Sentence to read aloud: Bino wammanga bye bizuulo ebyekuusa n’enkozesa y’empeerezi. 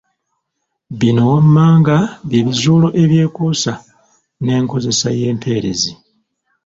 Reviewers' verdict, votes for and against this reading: rejected, 0, 2